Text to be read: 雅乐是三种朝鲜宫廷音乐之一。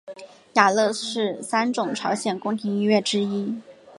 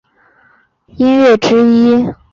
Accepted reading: first